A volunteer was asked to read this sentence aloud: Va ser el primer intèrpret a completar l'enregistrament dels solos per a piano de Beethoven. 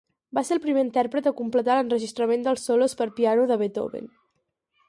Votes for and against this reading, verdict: 2, 2, rejected